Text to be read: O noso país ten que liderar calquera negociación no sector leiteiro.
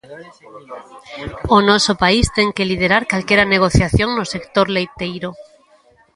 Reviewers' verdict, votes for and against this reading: accepted, 2, 0